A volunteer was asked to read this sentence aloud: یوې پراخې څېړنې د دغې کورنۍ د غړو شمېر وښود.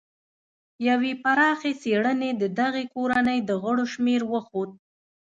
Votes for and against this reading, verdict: 2, 0, accepted